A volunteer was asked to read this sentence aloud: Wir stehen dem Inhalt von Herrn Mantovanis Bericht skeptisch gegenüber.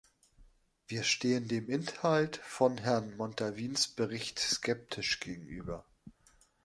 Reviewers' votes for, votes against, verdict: 0, 3, rejected